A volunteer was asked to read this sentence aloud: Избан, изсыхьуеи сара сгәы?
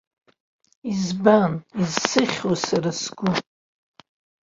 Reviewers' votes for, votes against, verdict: 3, 2, accepted